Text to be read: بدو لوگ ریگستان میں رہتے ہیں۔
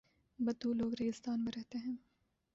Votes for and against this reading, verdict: 0, 2, rejected